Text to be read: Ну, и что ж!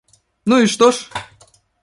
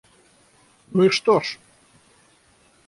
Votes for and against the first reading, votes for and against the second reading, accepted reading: 2, 1, 3, 3, first